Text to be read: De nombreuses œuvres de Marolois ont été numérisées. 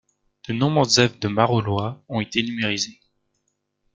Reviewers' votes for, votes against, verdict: 3, 2, accepted